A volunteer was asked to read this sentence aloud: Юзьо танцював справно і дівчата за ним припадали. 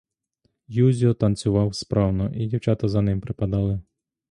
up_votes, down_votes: 2, 0